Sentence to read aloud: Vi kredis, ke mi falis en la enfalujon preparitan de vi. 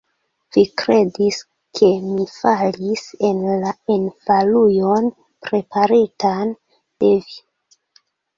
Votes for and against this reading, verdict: 2, 0, accepted